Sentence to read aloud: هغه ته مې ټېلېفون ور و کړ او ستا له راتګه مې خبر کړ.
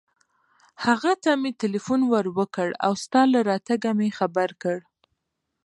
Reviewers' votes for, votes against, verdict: 2, 0, accepted